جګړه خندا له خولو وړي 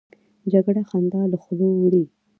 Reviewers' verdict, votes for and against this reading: rejected, 0, 2